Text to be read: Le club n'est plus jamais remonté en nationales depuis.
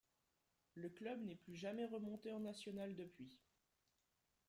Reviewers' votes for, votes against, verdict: 0, 3, rejected